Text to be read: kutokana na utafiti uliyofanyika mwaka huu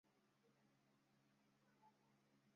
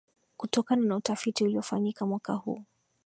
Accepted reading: second